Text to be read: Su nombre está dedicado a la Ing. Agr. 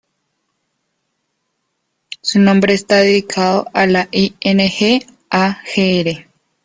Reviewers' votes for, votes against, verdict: 0, 2, rejected